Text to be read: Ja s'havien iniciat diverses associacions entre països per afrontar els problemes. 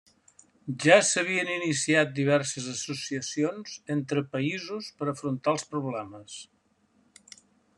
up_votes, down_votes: 3, 0